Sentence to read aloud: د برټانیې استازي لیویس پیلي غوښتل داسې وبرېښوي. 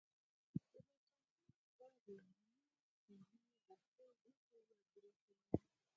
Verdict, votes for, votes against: rejected, 0, 4